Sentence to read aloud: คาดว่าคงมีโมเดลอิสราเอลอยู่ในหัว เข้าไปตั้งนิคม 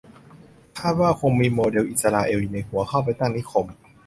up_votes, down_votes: 2, 0